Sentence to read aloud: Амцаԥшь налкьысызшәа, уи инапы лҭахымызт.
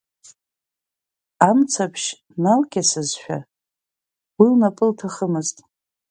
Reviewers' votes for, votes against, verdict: 1, 2, rejected